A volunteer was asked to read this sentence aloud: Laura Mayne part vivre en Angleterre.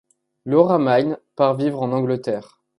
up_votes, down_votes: 2, 0